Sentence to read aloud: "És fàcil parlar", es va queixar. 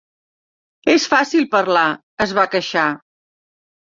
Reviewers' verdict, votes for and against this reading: accepted, 2, 0